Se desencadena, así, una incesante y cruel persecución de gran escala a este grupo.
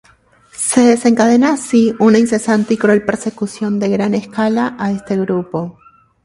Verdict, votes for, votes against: accepted, 2, 0